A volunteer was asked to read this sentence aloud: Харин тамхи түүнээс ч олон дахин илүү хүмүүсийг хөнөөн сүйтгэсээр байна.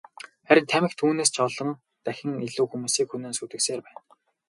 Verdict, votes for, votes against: accepted, 4, 0